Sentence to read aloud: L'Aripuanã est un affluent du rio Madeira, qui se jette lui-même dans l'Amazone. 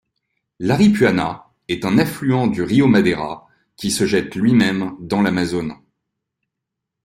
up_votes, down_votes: 2, 0